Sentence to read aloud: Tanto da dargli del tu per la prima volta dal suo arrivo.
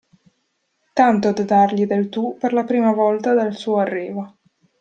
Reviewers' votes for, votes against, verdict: 0, 2, rejected